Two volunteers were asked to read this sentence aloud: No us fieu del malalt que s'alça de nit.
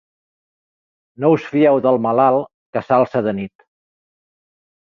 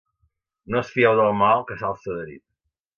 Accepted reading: first